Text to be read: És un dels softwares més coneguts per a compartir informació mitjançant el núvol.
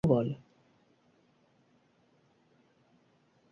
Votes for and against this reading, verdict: 1, 2, rejected